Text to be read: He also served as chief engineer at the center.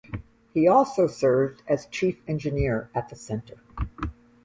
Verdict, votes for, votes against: accepted, 2, 0